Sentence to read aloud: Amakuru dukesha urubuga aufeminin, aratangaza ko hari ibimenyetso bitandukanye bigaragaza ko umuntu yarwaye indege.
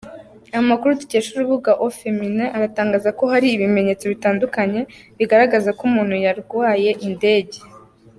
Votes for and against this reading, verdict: 2, 0, accepted